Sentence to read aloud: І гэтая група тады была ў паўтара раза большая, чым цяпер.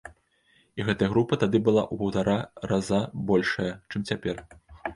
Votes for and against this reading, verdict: 2, 0, accepted